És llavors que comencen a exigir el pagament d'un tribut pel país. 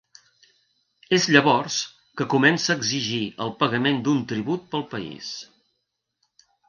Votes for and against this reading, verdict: 1, 2, rejected